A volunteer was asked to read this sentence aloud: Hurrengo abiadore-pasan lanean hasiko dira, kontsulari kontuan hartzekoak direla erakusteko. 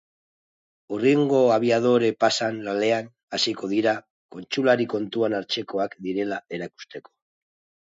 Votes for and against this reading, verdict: 5, 2, accepted